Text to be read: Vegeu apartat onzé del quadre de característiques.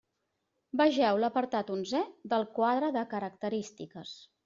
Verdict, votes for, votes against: rejected, 1, 2